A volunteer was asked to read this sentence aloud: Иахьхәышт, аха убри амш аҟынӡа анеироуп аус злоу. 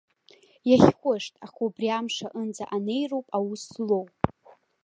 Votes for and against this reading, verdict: 2, 0, accepted